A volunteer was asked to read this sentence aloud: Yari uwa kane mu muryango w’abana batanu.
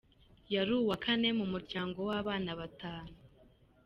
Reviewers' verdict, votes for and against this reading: accepted, 2, 1